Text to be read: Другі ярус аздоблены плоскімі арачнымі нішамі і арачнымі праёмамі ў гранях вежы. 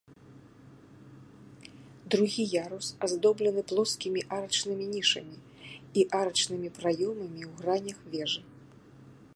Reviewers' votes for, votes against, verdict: 2, 0, accepted